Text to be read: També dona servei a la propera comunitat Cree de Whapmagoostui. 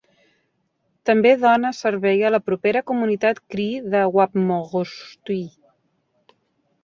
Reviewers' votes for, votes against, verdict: 1, 2, rejected